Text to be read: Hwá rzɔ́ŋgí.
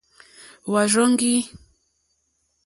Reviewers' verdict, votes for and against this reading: accepted, 2, 0